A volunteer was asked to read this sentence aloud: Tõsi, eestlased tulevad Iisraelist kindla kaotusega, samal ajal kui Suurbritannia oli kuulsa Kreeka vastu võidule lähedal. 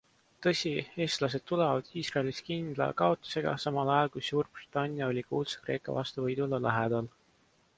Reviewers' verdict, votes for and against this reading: accepted, 2, 1